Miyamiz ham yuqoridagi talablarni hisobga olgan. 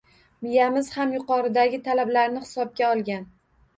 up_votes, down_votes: 1, 2